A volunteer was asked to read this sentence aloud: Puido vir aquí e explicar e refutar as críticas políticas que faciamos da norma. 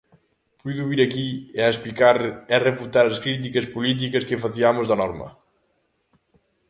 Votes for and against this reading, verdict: 0, 2, rejected